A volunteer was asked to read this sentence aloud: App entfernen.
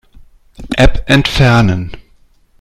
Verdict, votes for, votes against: accepted, 2, 0